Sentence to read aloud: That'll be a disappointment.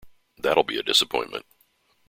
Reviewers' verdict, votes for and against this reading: accepted, 2, 0